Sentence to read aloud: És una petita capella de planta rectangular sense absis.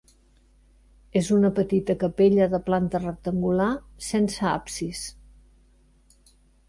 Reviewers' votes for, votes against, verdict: 3, 0, accepted